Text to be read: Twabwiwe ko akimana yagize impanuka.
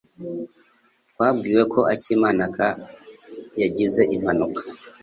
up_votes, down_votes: 1, 2